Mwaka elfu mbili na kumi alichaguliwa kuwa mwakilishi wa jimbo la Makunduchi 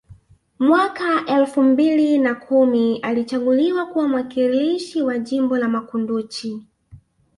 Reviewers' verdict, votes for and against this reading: accepted, 2, 0